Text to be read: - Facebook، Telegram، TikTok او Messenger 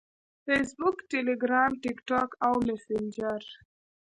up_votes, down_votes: 1, 2